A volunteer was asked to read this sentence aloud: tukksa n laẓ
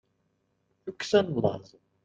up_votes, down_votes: 2, 0